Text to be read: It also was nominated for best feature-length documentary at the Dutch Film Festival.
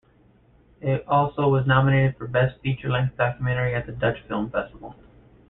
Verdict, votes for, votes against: rejected, 1, 2